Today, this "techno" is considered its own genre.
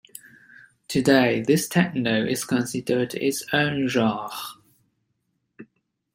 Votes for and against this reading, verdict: 0, 2, rejected